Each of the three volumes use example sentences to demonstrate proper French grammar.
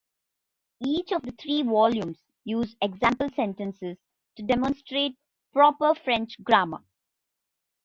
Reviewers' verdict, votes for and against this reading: accepted, 2, 0